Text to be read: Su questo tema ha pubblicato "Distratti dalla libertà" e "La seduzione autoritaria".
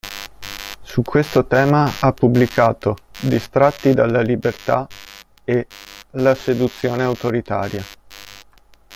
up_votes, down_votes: 1, 2